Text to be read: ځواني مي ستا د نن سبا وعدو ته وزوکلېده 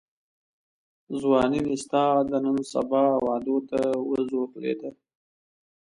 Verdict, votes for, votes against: accepted, 2, 0